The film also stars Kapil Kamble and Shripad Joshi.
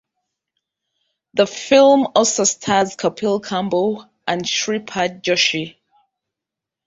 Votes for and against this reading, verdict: 3, 0, accepted